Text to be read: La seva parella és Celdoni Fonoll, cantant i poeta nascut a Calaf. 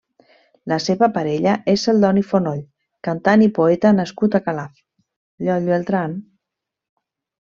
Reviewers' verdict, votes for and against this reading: rejected, 1, 2